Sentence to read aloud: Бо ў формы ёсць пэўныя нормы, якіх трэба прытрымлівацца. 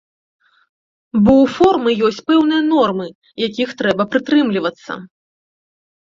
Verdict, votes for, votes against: accepted, 2, 0